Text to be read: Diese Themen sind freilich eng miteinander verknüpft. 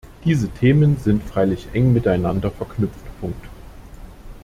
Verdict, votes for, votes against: rejected, 0, 2